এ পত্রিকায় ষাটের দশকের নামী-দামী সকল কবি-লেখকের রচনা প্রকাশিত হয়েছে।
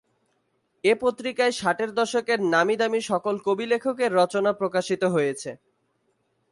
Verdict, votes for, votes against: accepted, 14, 0